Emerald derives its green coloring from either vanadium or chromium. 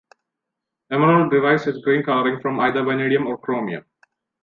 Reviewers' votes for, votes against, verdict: 2, 1, accepted